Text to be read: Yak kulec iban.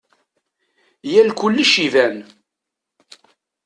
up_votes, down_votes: 0, 2